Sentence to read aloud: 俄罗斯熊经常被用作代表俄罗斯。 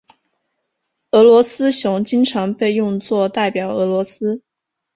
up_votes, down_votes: 2, 0